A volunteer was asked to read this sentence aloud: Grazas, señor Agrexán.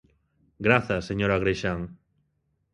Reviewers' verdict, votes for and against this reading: accepted, 2, 0